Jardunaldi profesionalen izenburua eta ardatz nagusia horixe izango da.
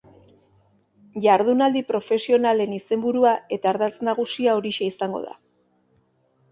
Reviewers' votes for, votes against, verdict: 3, 0, accepted